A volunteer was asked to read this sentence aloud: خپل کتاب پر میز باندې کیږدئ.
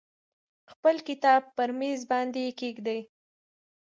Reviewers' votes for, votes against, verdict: 2, 0, accepted